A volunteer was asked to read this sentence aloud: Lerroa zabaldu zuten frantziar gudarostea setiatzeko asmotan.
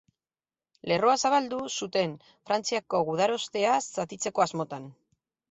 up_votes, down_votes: 0, 4